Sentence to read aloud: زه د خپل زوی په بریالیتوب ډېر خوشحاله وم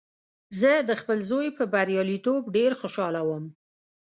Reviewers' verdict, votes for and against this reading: rejected, 0, 2